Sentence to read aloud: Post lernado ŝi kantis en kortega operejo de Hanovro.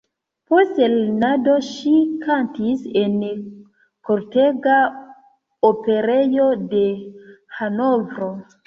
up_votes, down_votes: 2, 0